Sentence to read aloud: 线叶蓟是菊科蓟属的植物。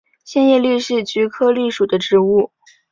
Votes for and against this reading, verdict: 3, 0, accepted